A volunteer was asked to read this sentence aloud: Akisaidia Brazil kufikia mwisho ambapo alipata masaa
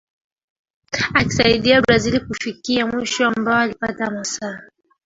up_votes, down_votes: 1, 2